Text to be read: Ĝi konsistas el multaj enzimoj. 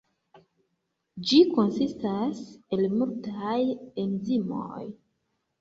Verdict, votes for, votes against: accepted, 3, 1